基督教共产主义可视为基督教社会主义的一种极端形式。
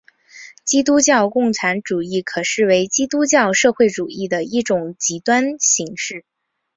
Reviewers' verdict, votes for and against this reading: rejected, 2, 2